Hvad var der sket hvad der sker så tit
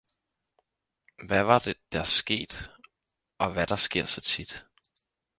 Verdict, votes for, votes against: rejected, 0, 4